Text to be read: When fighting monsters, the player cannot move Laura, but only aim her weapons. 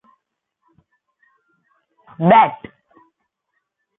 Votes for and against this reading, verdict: 0, 2, rejected